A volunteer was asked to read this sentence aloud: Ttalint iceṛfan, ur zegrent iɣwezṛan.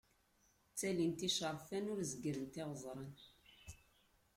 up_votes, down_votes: 2, 0